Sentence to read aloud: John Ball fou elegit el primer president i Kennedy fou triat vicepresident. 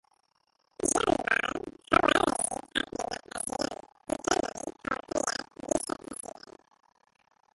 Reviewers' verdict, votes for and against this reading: rejected, 0, 2